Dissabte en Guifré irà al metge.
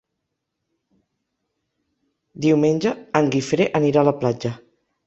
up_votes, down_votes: 0, 2